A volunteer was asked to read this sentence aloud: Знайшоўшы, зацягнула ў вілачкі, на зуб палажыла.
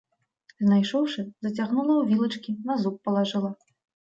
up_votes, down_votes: 2, 0